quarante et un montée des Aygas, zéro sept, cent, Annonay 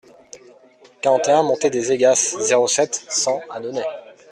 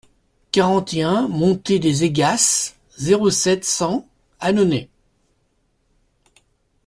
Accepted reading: second